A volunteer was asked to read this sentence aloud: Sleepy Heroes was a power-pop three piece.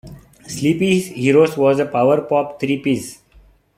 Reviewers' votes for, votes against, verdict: 2, 1, accepted